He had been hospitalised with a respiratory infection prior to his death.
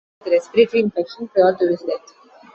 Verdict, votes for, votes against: rejected, 0, 2